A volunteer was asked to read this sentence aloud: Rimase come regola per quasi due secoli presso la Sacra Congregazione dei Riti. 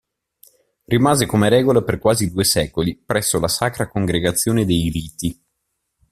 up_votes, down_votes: 2, 0